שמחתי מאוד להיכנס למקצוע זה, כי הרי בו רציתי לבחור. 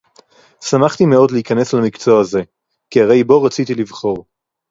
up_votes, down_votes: 4, 0